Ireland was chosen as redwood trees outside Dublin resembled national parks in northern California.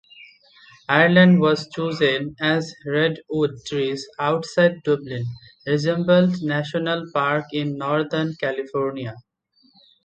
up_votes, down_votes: 1, 2